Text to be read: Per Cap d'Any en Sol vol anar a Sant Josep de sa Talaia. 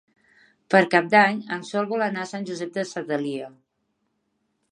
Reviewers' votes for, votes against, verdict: 1, 3, rejected